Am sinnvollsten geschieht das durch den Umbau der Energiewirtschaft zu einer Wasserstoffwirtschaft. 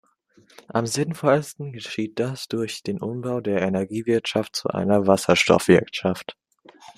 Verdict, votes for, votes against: accepted, 2, 0